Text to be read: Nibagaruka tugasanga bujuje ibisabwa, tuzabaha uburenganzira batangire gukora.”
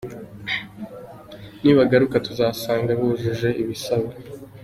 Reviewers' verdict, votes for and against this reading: rejected, 0, 3